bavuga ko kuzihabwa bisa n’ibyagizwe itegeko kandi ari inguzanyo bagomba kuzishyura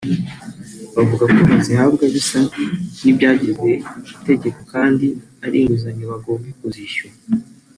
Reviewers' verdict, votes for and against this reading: rejected, 1, 2